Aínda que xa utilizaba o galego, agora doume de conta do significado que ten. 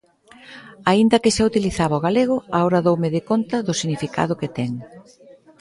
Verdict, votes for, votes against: rejected, 1, 2